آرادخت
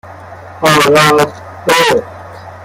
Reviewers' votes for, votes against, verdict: 1, 2, rejected